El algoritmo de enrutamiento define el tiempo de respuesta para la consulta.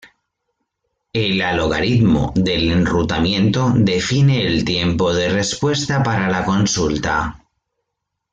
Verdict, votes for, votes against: rejected, 0, 2